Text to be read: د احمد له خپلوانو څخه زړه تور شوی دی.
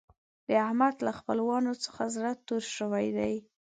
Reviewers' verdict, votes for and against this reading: accepted, 2, 0